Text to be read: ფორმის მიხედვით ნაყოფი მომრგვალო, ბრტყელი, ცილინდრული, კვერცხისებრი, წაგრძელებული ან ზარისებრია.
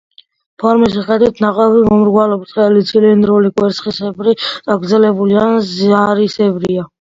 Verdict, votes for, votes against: accepted, 2, 0